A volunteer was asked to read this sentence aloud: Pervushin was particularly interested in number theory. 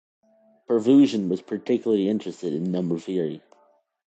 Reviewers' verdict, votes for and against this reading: accepted, 2, 0